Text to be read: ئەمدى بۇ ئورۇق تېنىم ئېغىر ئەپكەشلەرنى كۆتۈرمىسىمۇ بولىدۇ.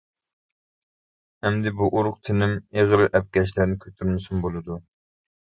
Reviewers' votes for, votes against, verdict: 0, 2, rejected